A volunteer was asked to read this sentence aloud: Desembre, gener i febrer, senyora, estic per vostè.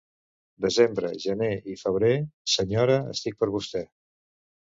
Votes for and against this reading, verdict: 2, 0, accepted